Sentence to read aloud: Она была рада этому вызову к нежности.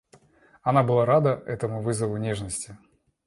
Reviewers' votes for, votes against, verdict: 1, 2, rejected